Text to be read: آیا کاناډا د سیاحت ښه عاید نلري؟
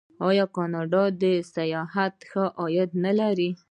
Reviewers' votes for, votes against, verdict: 2, 0, accepted